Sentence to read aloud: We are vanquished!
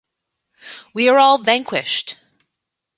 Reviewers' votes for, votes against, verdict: 0, 2, rejected